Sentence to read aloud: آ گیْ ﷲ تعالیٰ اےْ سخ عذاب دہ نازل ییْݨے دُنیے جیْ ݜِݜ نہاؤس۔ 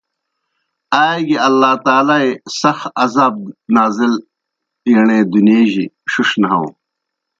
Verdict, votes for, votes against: rejected, 0, 2